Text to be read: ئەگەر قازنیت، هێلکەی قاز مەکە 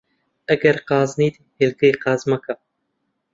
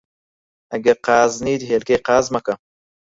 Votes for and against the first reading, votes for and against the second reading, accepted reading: 2, 0, 0, 4, first